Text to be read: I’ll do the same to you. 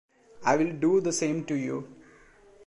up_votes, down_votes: 1, 2